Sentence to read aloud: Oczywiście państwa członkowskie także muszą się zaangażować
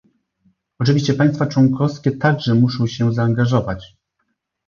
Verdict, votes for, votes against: accepted, 2, 0